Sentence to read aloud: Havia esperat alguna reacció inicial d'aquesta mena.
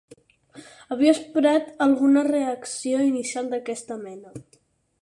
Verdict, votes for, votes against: accepted, 4, 0